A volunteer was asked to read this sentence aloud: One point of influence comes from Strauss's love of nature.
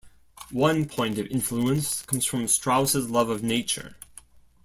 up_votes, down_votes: 2, 0